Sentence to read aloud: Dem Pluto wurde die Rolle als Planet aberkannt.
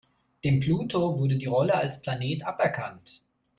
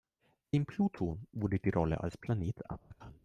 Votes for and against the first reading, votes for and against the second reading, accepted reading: 2, 0, 1, 2, first